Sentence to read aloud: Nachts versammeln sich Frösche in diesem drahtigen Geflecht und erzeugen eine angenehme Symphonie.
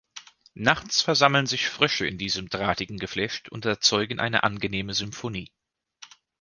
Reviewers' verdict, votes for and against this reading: accepted, 2, 0